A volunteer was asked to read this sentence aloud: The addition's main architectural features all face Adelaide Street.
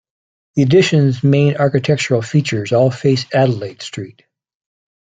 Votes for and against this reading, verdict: 2, 0, accepted